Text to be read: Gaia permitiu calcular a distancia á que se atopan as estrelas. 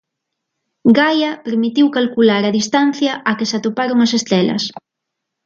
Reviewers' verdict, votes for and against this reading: rejected, 1, 3